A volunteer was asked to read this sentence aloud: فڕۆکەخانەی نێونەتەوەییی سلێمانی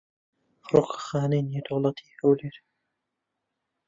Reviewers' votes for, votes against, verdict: 1, 2, rejected